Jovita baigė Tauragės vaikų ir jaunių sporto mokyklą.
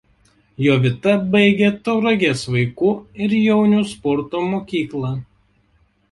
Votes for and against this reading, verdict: 2, 0, accepted